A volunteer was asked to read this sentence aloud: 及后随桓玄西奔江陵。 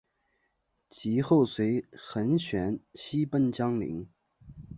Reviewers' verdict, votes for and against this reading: accepted, 5, 0